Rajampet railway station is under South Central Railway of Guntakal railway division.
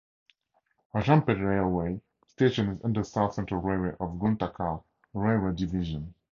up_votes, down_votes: 2, 0